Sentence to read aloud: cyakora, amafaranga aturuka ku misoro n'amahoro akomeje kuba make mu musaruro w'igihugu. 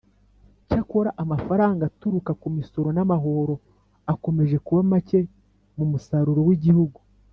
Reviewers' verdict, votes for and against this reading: accepted, 2, 0